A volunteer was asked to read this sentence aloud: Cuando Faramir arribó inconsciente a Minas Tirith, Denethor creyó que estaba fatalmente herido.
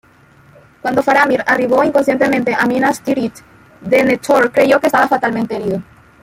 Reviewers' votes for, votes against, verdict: 1, 2, rejected